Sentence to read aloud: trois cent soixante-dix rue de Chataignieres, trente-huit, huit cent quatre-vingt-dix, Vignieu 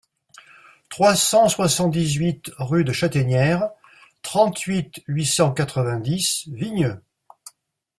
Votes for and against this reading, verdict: 1, 2, rejected